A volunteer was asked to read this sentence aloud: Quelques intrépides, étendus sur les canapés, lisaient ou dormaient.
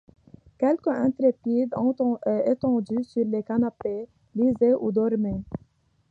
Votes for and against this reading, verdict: 2, 0, accepted